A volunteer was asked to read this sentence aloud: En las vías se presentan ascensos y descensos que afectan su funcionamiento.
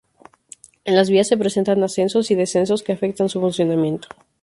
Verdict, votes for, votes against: rejected, 0, 2